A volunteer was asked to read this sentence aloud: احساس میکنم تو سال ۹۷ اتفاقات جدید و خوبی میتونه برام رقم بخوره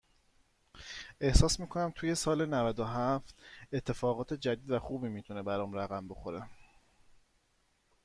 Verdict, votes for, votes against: rejected, 0, 2